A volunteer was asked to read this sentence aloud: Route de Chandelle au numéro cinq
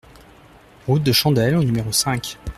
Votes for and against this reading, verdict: 2, 0, accepted